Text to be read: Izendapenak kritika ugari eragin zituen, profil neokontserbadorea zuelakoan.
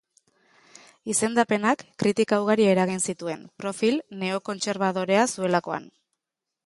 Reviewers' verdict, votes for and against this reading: accepted, 2, 0